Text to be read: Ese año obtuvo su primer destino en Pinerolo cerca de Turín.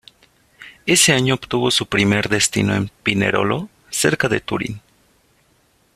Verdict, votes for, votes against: accepted, 2, 0